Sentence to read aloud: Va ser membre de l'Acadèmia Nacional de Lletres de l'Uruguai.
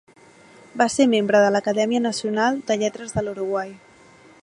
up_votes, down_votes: 2, 0